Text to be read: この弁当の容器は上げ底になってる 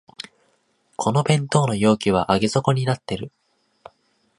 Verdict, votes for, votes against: accepted, 2, 0